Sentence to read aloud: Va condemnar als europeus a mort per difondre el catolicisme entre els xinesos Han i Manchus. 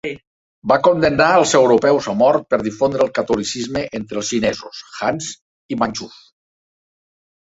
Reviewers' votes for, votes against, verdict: 0, 2, rejected